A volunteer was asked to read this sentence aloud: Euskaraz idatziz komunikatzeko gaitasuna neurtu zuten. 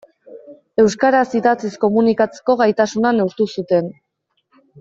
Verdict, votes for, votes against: accepted, 2, 0